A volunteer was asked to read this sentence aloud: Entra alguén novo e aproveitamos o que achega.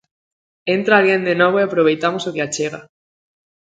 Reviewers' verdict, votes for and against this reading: rejected, 0, 2